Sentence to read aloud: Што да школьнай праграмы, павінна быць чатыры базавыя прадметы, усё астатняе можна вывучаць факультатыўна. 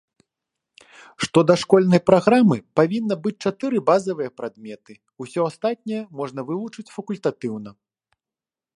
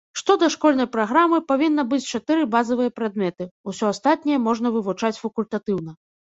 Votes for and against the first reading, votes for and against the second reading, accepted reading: 1, 2, 2, 0, second